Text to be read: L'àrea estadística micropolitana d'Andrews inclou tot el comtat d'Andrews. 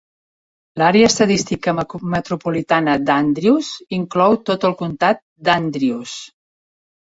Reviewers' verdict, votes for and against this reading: rejected, 0, 2